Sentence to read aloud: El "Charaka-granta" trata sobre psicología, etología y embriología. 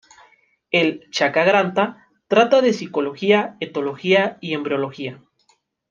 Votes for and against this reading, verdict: 1, 2, rejected